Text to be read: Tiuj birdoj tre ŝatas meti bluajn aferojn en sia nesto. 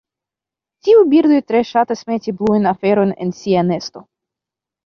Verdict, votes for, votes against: rejected, 1, 2